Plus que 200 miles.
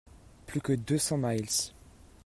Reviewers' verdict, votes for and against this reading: rejected, 0, 2